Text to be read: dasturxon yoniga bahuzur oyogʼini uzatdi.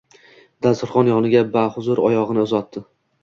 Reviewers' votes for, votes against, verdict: 2, 0, accepted